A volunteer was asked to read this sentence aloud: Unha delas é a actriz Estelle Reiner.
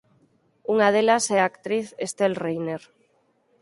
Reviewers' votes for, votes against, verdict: 4, 0, accepted